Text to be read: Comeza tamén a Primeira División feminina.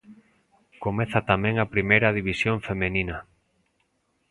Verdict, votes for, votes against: rejected, 0, 2